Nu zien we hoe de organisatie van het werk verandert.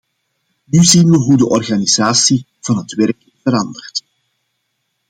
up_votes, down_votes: 2, 0